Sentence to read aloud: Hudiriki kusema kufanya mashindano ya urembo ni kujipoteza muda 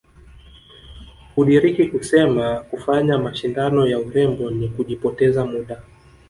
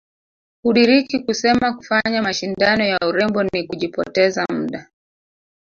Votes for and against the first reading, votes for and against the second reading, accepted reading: 3, 1, 1, 2, first